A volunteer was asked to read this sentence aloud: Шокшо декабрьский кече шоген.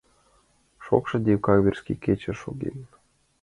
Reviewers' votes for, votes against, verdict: 2, 1, accepted